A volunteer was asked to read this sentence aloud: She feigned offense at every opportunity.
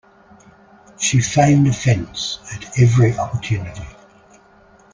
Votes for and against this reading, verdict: 2, 0, accepted